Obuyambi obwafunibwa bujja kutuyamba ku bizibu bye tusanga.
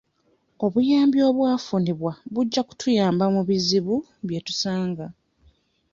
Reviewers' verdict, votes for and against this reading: rejected, 0, 2